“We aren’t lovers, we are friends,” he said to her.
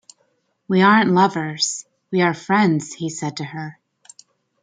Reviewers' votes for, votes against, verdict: 2, 0, accepted